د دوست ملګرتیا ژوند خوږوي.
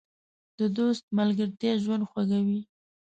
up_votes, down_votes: 2, 0